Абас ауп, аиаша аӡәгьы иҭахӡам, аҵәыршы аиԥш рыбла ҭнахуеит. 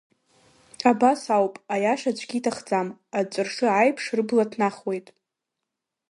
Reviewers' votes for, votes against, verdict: 2, 0, accepted